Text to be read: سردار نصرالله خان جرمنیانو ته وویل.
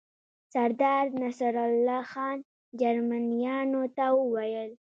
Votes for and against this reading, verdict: 1, 2, rejected